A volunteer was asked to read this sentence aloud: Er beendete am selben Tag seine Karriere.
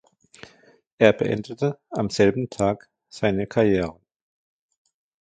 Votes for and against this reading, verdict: 1, 2, rejected